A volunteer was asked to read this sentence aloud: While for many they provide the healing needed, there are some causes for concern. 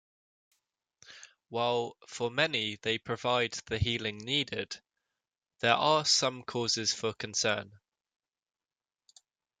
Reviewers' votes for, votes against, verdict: 3, 0, accepted